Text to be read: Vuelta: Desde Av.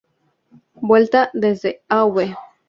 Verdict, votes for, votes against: rejected, 0, 4